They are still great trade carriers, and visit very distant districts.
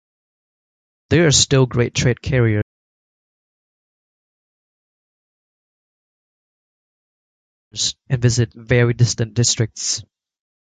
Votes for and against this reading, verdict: 1, 2, rejected